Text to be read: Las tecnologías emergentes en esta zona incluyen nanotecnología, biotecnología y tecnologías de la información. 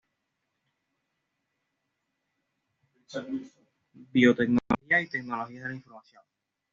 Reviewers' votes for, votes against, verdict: 0, 2, rejected